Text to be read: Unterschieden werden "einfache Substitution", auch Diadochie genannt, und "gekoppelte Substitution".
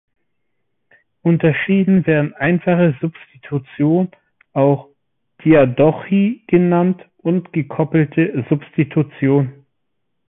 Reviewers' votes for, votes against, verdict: 2, 0, accepted